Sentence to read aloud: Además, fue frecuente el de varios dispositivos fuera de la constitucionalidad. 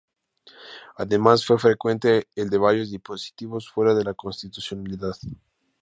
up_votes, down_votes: 4, 2